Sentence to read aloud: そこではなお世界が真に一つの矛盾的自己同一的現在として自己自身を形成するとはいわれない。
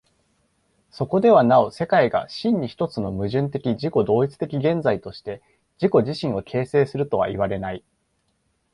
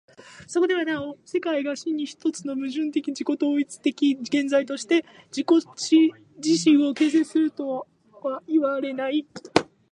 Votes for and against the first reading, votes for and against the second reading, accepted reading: 2, 0, 1, 2, first